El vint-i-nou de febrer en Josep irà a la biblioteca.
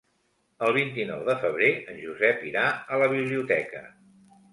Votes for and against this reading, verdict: 2, 0, accepted